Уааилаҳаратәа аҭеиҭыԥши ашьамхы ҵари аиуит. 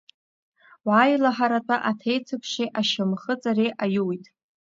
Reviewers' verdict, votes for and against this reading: accepted, 2, 0